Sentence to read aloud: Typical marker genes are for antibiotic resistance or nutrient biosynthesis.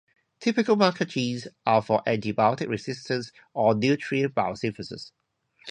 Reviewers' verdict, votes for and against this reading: rejected, 2, 2